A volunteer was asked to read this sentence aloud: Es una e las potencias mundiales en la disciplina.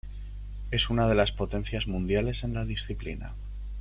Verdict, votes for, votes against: rejected, 0, 2